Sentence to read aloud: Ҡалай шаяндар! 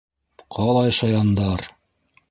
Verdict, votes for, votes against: accepted, 3, 0